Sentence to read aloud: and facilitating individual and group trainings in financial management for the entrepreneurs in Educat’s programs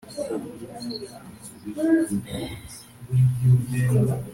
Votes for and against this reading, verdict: 0, 2, rejected